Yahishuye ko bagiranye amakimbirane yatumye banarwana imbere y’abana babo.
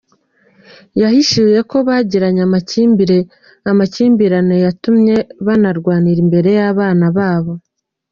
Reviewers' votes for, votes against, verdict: 1, 2, rejected